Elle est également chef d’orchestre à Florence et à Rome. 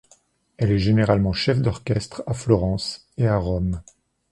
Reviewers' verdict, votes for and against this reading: rejected, 0, 2